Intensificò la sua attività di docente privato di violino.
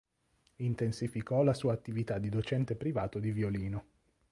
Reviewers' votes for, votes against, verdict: 2, 0, accepted